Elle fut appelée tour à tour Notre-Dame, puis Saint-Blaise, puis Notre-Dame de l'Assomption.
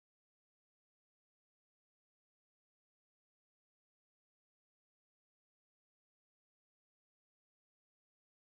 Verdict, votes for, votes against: rejected, 0, 2